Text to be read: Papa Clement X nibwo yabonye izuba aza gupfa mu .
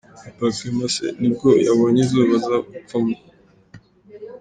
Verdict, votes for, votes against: accepted, 2, 1